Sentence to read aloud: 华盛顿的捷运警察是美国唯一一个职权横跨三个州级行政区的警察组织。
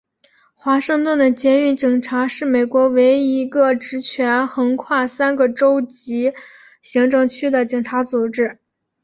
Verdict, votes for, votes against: accepted, 3, 1